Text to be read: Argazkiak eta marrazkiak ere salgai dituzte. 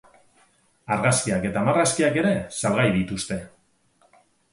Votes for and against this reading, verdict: 4, 0, accepted